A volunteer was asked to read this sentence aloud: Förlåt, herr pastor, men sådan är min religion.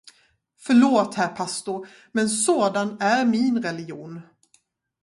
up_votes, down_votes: 2, 2